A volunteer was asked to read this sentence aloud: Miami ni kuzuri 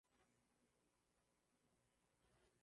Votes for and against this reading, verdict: 0, 2, rejected